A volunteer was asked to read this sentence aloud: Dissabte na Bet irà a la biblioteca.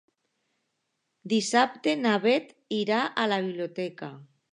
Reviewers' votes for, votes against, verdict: 2, 0, accepted